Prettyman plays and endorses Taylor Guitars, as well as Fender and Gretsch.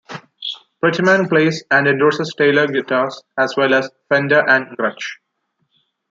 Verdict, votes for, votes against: rejected, 0, 2